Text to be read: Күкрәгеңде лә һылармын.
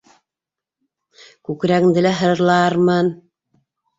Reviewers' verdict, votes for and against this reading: rejected, 0, 2